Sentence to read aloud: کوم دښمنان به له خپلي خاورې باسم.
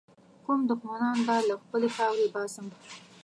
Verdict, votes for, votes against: accepted, 2, 0